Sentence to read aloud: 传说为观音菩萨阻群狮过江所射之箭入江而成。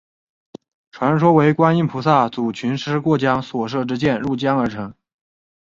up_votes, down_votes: 3, 0